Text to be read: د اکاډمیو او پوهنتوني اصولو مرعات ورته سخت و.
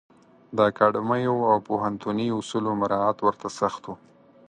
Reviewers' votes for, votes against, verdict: 4, 0, accepted